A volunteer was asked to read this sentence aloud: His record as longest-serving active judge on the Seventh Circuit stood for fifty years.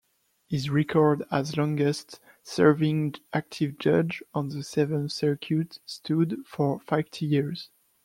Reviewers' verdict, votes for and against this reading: accepted, 2, 0